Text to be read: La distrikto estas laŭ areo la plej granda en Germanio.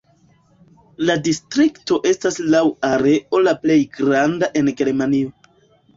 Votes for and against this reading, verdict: 2, 1, accepted